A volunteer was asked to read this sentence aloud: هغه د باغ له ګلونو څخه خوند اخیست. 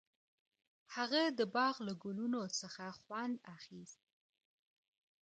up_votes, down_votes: 2, 1